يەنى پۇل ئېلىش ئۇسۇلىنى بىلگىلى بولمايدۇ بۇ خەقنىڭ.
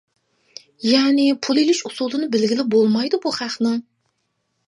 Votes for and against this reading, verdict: 2, 0, accepted